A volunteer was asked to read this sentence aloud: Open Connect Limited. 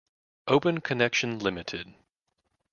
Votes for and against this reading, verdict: 0, 2, rejected